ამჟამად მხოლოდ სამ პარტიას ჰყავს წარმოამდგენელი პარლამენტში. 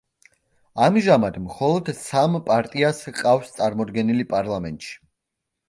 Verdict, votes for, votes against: rejected, 1, 2